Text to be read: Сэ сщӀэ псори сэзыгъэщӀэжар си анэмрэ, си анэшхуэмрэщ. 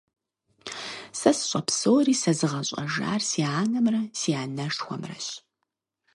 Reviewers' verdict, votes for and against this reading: accepted, 4, 0